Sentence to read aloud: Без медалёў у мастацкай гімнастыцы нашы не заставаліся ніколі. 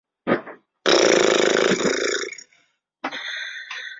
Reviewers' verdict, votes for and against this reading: rejected, 0, 2